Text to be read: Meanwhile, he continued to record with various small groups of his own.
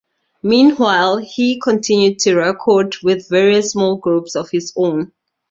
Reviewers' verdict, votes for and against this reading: accepted, 2, 0